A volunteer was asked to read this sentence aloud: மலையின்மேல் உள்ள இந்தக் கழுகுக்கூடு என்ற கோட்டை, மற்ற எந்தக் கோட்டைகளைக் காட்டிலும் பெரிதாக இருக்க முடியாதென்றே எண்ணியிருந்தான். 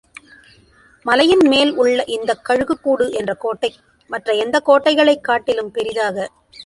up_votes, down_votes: 0, 2